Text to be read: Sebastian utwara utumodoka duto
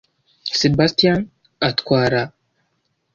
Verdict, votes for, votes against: rejected, 1, 2